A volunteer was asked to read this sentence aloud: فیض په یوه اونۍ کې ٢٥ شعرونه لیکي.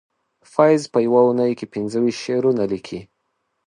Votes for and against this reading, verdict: 0, 2, rejected